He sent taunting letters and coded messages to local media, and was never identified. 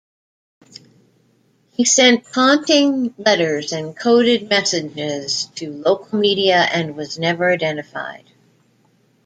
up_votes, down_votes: 1, 2